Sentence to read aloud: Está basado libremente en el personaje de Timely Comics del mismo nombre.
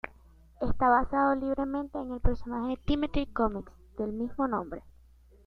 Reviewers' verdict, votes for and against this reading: rejected, 0, 2